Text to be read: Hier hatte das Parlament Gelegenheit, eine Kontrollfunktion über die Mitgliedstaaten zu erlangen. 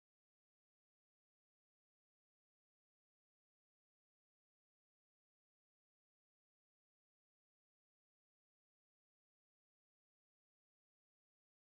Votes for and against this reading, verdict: 0, 2, rejected